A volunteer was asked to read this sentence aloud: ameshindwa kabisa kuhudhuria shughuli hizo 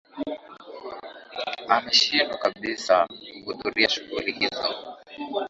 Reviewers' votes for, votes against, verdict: 1, 2, rejected